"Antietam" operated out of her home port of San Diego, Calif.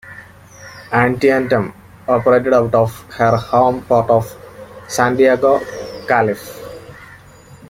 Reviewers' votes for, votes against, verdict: 1, 2, rejected